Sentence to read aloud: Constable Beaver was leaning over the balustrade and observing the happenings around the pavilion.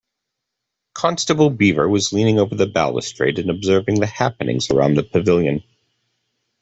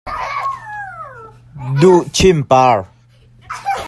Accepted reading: first